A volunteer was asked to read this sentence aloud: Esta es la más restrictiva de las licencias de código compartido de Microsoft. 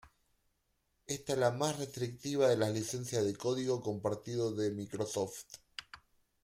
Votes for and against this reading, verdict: 2, 0, accepted